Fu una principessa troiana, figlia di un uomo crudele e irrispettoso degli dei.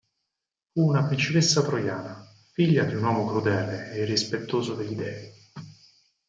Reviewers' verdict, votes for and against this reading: rejected, 0, 4